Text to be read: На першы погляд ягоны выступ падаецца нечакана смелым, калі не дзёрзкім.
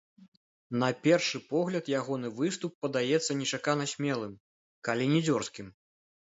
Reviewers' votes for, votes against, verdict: 1, 2, rejected